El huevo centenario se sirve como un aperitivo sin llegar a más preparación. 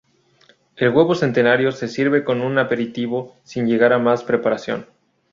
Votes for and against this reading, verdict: 2, 0, accepted